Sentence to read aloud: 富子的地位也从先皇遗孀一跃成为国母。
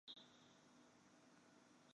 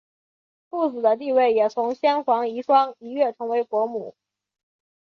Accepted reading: second